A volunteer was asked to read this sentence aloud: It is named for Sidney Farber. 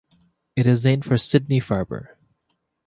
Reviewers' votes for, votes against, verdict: 2, 0, accepted